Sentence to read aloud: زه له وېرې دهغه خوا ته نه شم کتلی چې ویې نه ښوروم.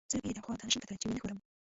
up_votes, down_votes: 1, 2